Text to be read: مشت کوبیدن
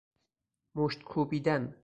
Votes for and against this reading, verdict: 4, 0, accepted